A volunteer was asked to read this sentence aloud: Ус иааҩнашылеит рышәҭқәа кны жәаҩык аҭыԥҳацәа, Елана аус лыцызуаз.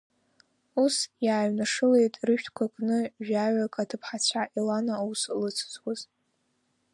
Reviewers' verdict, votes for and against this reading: accepted, 2, 0